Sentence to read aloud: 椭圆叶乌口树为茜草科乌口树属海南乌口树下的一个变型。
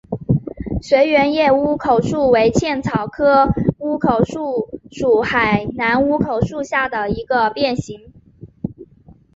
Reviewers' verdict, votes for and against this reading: accepted, 3, 0